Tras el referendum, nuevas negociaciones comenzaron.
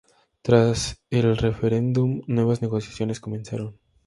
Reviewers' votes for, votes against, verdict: 2, 0, accepted